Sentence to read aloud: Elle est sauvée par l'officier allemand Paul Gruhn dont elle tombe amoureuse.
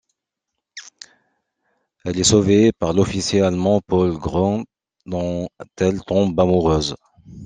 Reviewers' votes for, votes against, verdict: 1, 2, rejected